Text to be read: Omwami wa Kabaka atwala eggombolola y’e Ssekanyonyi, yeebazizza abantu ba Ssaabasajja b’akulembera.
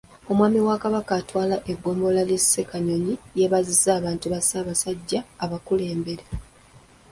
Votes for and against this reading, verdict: 0, 2, rejected